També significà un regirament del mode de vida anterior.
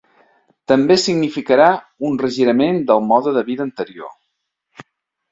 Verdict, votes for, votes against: rejected, 0, 2